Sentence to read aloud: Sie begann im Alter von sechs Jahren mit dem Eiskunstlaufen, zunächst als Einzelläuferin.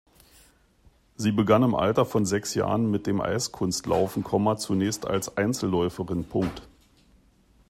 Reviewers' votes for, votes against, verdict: 0, 2, rejected